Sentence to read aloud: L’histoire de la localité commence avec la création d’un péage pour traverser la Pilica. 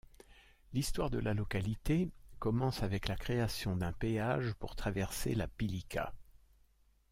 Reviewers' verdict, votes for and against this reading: accepted, 2, 0